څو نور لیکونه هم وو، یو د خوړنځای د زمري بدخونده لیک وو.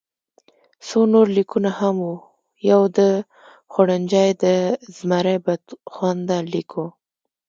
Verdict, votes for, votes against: rejected, 0, 2